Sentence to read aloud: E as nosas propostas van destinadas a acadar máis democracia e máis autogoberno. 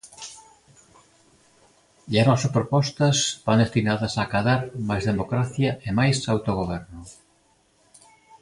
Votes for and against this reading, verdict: 2, 1, accepted